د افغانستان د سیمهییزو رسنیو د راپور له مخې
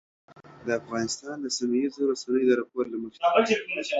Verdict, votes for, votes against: rejected, 1, 2